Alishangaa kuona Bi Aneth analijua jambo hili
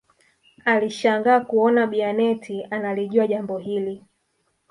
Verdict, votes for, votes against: rejected, 0, 2